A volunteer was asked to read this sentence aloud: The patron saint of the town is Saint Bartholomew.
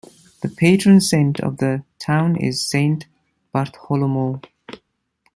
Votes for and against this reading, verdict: 1, 2, rejected